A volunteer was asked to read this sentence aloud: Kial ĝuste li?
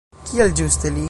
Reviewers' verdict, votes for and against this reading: accepted, 2, 0